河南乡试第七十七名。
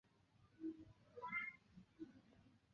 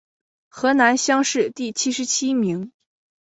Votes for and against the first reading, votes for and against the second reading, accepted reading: 0, 2, 3, 1, second